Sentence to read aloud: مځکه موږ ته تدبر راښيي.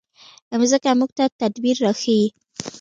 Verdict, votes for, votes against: accepted, 2, 0